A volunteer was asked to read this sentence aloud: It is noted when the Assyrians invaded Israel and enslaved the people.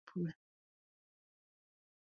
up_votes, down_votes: 0, 2